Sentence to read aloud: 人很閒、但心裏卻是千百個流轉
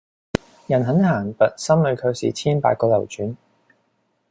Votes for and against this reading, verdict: 1, 2, rejected